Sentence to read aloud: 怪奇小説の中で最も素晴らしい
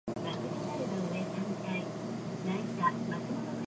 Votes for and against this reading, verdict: 3, 5, rejected